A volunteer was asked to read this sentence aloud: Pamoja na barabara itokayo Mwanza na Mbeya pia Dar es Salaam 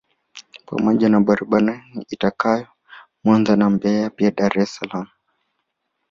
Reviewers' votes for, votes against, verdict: 0, 2, rejected